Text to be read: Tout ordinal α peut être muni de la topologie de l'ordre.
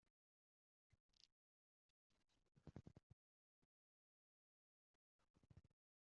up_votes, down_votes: 1, 2